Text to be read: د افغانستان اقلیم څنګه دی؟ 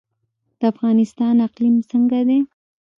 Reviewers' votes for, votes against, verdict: 1, 2, rejected